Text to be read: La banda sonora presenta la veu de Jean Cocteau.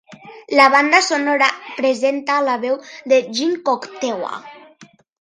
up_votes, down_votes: 0, 2